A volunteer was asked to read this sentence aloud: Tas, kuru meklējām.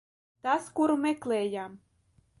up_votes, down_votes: 2, 0